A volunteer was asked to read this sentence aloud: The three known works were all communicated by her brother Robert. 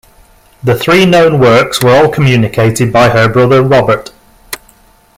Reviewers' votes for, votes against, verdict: 2, 1, accepted